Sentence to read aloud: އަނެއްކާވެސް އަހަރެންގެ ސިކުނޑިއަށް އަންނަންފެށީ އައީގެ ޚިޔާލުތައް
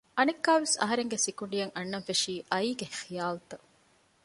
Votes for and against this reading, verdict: 2, 0, accepted